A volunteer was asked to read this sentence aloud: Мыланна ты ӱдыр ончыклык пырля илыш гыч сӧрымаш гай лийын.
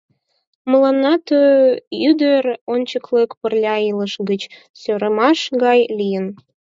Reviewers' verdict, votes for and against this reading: rejected, 0, 4